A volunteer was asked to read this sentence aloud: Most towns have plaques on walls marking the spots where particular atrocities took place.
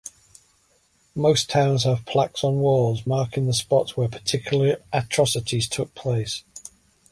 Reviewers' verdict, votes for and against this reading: accepted, 2, 0